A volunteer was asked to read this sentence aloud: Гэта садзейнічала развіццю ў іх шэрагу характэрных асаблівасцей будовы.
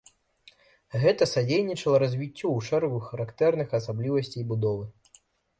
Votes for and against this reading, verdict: 1, 2, rejected